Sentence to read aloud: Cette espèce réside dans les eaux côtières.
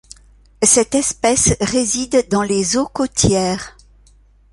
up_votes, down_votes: 2, 0